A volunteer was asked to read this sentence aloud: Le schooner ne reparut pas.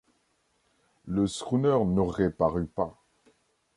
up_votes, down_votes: 0, 2